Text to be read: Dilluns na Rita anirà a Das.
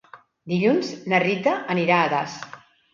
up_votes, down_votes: 2, 0